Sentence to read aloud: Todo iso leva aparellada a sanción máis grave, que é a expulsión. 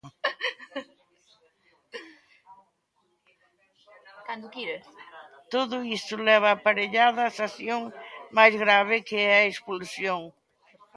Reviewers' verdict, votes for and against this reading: rejected, 1, 3